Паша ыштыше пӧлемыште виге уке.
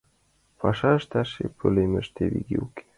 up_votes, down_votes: 1, 2